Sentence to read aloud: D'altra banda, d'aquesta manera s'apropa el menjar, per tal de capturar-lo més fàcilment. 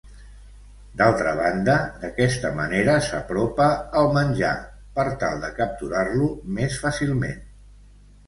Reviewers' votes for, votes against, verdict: 2, 0, accepted